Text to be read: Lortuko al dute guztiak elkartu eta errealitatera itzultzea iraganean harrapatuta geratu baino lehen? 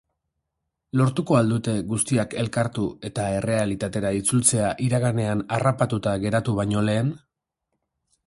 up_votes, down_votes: 2, 0